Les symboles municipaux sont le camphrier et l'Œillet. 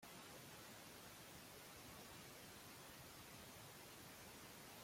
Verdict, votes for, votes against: rejected, 0, 2